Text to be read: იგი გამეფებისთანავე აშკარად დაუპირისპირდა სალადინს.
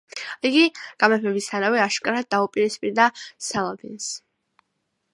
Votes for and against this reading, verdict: 3, 1, accepted